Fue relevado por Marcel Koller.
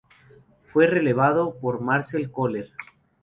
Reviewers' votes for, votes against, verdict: 4, 0, accepted